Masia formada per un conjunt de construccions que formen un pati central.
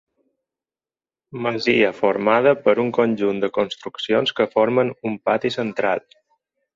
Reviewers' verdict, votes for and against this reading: rejected, 2, 4